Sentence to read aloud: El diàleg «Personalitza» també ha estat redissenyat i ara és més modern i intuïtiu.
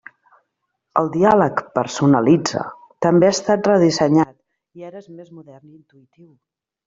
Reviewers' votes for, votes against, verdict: 1, 2, rejected